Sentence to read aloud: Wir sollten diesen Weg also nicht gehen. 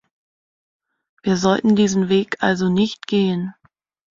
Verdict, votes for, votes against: accepted, 2, 0